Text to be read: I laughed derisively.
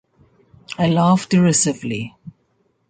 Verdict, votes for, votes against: accepted, 2, 0